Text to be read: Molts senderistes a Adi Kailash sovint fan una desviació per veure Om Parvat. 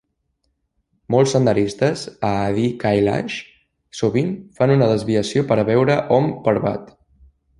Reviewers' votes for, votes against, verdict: 2, 0, accepted